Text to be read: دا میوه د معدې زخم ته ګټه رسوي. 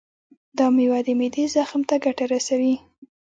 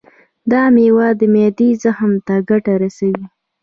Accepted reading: second